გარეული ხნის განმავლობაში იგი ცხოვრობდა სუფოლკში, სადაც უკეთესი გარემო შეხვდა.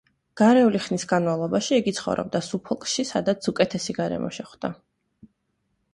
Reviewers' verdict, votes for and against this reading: accepted, 2, 0